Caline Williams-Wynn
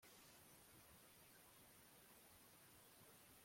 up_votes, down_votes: 0, 2